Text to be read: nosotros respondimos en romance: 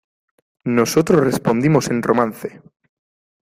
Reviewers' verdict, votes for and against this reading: accepted, 2, 0